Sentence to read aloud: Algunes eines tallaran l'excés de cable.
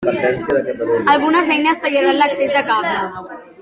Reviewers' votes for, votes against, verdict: 0, 2, rejected